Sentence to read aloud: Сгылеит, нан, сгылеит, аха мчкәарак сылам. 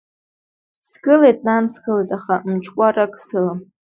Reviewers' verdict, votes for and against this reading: accepted, 2, 0